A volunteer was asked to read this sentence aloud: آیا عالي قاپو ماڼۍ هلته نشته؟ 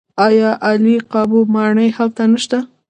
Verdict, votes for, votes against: accepted, 2, 0